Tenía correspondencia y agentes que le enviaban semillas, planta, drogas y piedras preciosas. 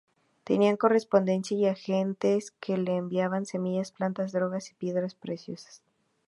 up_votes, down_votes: 0, 2